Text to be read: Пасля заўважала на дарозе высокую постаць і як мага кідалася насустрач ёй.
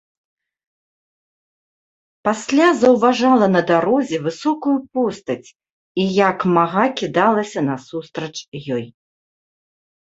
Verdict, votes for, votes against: accepted, 3, 0